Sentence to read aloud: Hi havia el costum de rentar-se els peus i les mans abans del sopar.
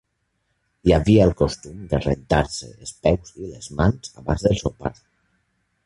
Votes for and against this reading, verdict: 0, 2, rejected